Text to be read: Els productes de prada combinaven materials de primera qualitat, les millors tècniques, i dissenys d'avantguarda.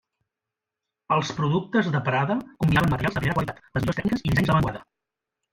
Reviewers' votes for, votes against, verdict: 0, 2, rejected